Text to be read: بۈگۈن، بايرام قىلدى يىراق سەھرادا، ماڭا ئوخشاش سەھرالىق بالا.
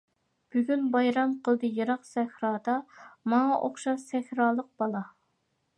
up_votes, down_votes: 2, 0